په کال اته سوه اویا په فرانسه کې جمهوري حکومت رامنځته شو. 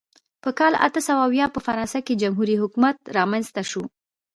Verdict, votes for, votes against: accepted, 3, 1